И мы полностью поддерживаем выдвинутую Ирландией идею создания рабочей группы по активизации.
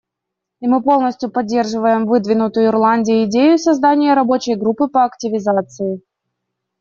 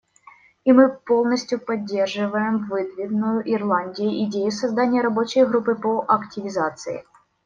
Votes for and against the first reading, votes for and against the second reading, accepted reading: 2, 0, 1, 2, first